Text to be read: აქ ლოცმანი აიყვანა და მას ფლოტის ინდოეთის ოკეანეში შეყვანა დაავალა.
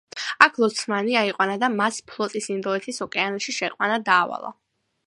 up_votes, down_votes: 2, 0